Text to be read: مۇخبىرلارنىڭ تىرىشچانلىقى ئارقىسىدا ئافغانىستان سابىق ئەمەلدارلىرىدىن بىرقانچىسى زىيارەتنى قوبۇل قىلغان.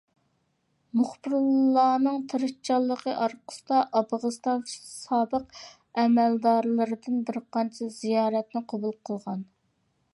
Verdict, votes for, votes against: rejected, 0, 2